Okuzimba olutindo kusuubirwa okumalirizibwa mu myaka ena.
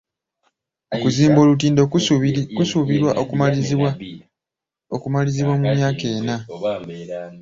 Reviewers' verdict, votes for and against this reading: rejected, 1, 2